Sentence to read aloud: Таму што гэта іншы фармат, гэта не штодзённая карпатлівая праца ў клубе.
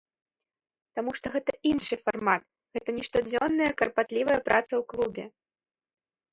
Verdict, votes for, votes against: rejected, 0, 2